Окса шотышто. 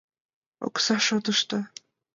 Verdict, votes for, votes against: accepted, 2, 0